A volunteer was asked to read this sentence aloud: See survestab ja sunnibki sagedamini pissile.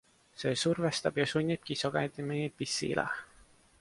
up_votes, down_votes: 2, 0